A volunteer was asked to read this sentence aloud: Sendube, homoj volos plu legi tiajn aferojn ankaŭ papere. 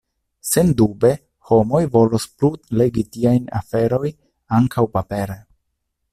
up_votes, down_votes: 1, 2